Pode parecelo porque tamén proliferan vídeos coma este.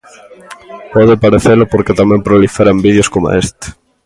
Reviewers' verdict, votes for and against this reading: accepted, 2, 0